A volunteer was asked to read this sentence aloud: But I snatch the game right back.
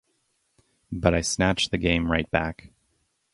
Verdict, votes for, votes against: accepted, 2, 0